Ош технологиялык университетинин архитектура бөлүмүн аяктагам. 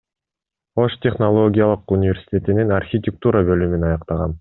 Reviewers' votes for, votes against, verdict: 2, 0, accepted